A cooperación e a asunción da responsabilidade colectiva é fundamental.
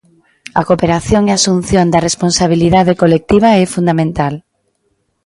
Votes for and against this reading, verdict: 2, 0, accepted